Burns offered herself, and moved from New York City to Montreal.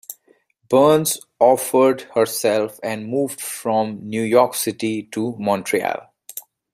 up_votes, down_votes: 2, 1